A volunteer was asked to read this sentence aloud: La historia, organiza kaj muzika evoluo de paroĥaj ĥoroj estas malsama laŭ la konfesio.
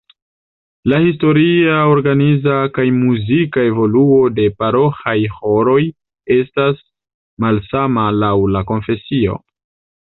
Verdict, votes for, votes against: accepted, 2, 1